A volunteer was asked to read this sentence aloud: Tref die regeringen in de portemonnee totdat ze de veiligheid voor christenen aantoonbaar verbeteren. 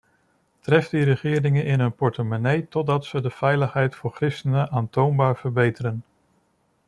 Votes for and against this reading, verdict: 0, 2, rejected